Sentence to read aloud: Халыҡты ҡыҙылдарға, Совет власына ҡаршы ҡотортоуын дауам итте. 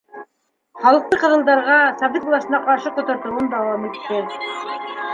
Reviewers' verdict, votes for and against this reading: rejected, 0, 2